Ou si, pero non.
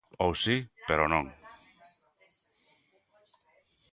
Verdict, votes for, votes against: accepted, 2, 1